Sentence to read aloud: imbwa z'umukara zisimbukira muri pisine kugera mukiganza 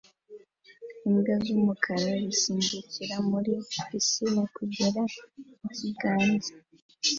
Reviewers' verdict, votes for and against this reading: accepted, 2, 0